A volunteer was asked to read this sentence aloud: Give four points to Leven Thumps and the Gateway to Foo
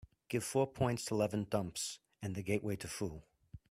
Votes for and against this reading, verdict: 2, 0, accepted